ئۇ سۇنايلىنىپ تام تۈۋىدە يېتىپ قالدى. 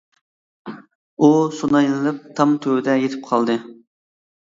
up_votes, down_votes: 2, 0